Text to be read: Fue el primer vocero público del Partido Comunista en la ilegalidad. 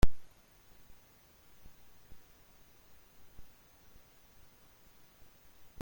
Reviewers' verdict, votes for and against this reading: rejected, 0, 2